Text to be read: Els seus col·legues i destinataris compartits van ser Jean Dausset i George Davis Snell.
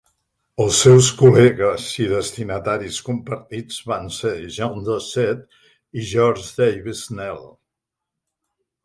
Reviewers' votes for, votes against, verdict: 2, 0, accepted